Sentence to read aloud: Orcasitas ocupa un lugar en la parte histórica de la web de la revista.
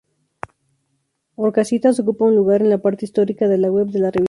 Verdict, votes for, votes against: rejected, 0, 2